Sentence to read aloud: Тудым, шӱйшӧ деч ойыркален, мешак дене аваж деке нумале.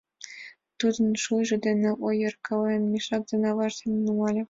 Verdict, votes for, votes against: rejected, 1, 2